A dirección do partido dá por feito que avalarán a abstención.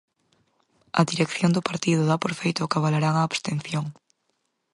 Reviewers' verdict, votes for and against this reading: accepted, 4, 0